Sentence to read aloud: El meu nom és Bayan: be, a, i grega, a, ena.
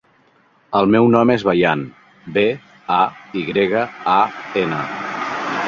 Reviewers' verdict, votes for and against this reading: accepted, 2, 0